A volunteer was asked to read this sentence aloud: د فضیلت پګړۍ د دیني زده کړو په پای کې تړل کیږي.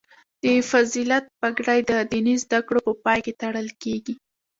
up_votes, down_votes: 1, 2